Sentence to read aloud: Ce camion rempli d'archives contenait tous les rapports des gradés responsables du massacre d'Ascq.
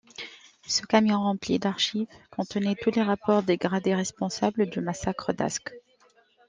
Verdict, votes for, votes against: accepted, 2, 1